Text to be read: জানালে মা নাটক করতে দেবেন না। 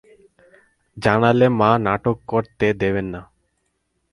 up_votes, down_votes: 4, 0